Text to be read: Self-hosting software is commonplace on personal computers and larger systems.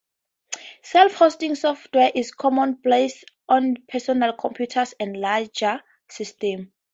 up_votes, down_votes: 2, 0